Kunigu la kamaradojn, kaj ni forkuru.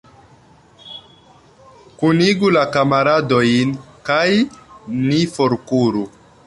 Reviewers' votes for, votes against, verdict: 3, 1, accepted